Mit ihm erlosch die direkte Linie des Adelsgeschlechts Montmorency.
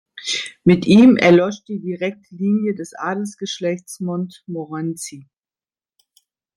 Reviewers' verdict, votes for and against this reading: rejected, 0, 2